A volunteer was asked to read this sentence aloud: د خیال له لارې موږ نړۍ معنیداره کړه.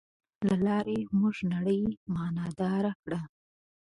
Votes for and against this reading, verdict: 0, 2, rejected